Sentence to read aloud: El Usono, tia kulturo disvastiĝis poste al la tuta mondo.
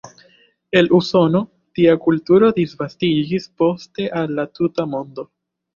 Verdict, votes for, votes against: rejected, 1, 2